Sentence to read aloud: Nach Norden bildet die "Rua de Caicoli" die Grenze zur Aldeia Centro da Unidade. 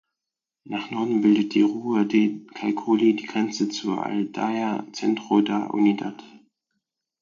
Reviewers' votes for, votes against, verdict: 2, 4, rejected